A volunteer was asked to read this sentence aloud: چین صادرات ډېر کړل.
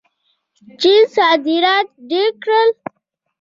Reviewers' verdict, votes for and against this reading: rejected, 1, 2